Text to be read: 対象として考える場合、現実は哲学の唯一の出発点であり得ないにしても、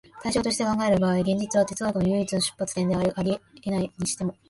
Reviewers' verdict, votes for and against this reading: rejected, 0, 2